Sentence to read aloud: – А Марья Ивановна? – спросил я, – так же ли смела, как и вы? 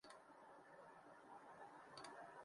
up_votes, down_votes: 0, 2